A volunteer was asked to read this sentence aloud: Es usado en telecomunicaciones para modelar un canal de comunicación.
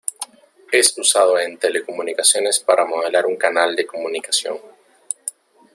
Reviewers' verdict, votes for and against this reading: accepted, 2, 0